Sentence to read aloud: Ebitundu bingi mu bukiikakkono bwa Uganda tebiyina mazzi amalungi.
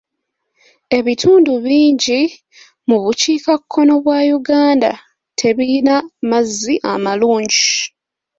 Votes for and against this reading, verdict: 2, 0, accepted